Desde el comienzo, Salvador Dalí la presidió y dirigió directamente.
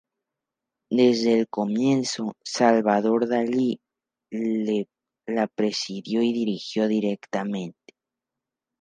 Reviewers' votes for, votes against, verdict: 4, 0, accepted